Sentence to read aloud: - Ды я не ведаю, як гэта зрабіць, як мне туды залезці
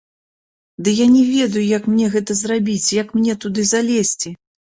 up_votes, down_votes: 0, 2